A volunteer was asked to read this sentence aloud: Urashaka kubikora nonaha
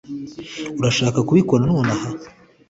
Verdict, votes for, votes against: accepted, 2, 0